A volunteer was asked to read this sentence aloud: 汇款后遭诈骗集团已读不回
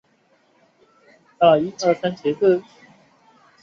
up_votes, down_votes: 2, 4